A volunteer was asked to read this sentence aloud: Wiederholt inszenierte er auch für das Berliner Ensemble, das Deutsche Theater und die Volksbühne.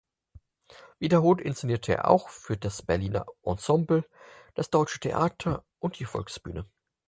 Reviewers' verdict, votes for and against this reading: accepted, 4, 2